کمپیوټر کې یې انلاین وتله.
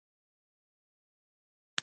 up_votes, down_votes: 1, 2